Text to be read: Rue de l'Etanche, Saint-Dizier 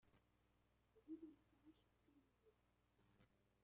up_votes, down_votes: 0, 2